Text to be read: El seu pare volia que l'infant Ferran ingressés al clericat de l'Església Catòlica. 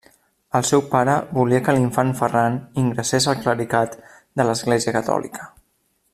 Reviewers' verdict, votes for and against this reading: accepted, 2, 0